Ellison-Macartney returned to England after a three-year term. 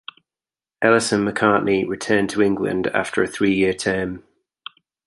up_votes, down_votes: 2, 0